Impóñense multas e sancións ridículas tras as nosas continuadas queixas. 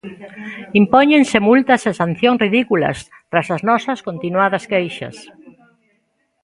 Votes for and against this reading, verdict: 1, 2, rejected